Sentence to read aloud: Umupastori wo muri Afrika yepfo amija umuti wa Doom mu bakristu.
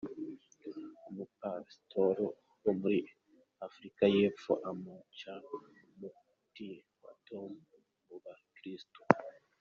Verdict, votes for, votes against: rejected, 0, 2